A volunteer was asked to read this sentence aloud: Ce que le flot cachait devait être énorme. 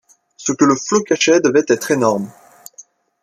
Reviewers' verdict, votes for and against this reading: accepted, 2, 0